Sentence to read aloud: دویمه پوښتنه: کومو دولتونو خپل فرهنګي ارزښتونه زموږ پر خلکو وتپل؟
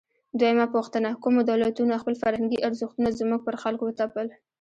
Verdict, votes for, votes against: rejected, 0, 2